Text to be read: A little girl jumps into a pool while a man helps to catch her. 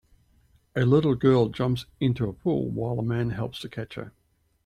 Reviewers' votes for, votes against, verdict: 2, 0, accepted